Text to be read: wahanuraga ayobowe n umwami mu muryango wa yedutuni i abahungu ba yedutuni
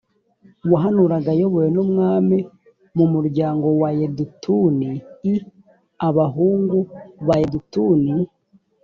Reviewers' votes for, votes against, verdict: 3, 0, accepted